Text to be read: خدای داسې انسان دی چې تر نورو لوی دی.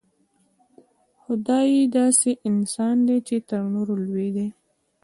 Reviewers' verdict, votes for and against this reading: rejected, 1, 2